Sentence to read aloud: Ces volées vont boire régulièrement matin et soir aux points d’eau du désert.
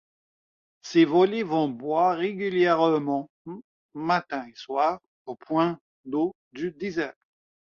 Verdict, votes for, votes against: rejected, 1, 2